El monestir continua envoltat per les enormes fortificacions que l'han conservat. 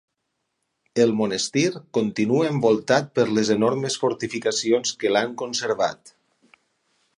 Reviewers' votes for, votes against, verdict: 6, 2, accepted